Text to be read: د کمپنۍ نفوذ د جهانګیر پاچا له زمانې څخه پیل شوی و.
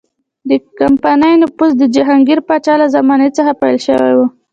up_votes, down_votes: 2, 0